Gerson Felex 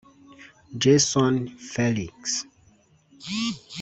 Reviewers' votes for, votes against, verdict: 1, 2, rejected